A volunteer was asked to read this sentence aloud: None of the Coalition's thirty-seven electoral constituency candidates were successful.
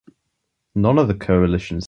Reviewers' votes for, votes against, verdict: 0, 2, rejected